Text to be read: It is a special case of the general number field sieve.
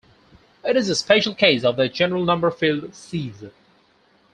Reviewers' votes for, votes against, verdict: 4, 0, accepted